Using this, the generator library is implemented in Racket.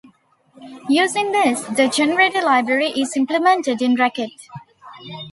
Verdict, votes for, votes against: accepted, 2, 0